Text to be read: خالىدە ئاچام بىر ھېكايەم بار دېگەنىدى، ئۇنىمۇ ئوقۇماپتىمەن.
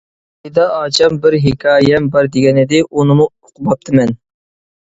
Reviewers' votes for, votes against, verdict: 0, 2, rejected